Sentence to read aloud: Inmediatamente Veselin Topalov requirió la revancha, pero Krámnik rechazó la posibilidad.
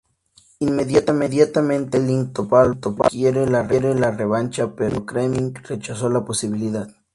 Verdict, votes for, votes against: rejected, 0, 2